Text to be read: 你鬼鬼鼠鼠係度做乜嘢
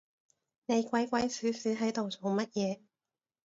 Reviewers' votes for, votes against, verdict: 2, 0, accepted